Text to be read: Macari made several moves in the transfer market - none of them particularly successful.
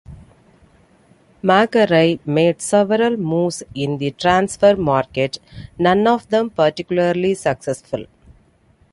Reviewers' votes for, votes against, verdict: 2, 0, accepted